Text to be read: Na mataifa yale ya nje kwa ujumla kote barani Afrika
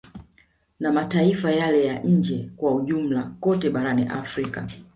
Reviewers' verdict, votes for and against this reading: rejected, 0, 2